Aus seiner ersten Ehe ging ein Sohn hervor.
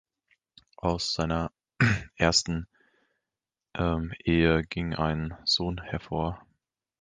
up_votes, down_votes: 0, 2